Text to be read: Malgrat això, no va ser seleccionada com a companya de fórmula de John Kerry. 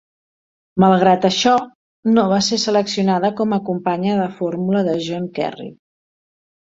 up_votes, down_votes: 3, 0